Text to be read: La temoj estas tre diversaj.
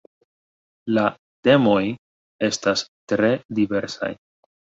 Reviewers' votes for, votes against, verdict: 1, 2, rejected